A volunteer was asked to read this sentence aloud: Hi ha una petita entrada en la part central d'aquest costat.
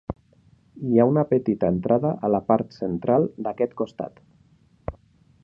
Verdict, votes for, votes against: accepted, 2, 0